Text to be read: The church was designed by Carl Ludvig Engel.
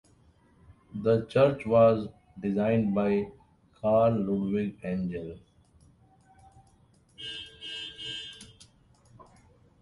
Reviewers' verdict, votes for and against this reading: rejected, 0, 2